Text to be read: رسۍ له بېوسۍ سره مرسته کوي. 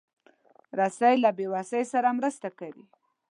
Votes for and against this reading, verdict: 2, 0, accepted